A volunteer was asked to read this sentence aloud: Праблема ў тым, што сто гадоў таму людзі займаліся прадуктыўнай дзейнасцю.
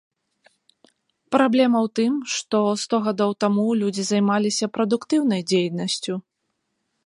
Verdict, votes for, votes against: accepted, 2, 0